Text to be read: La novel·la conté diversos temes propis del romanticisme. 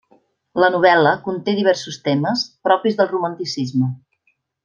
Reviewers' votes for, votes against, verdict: 3, 0, accepted